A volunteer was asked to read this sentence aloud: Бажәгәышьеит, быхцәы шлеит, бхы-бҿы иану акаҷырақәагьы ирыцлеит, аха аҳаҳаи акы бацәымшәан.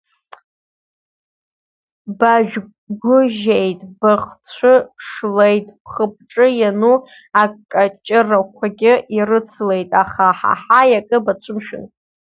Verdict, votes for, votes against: rejected, 1, 2